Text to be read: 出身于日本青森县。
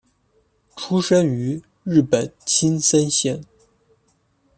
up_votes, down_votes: 1, 2